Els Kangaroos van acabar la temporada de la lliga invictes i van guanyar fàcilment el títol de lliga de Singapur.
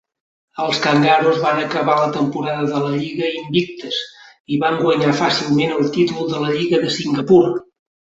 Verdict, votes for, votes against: rejected, 0, 2